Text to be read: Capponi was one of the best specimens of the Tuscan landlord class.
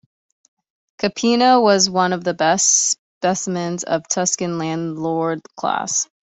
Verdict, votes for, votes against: rejected, 1, 2